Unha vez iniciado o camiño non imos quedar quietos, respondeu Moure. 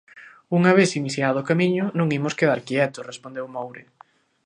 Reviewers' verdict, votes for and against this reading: accepted, 2, 0